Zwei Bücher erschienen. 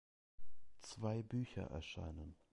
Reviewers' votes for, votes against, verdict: 0, 2, rejected